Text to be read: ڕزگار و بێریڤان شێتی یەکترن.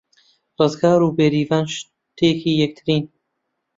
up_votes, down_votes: 0, 2